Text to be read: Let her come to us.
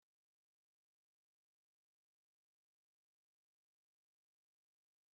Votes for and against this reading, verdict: 0, 2, rejected